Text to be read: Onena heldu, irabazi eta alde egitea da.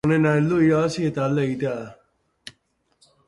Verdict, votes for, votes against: accepted, 2, 0